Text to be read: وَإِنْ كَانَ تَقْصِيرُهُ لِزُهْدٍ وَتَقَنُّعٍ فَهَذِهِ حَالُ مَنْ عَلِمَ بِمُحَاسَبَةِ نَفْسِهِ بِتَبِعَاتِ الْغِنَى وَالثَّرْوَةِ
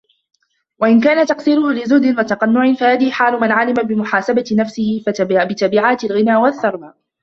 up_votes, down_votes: 0, 2